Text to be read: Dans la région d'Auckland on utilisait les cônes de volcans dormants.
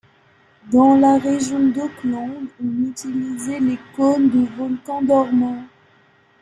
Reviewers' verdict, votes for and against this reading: rejected, 1, 2